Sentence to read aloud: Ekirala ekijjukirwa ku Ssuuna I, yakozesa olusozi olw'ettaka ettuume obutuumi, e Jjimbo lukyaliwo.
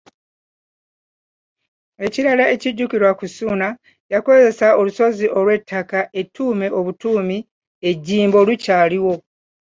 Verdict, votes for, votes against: rejected, 0, 2